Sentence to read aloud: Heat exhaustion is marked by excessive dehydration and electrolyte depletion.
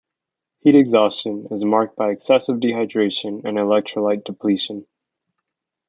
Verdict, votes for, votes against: accepted, 2, 0